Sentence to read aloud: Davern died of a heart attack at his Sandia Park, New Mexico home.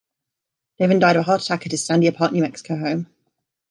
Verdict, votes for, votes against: accepted, 3, 0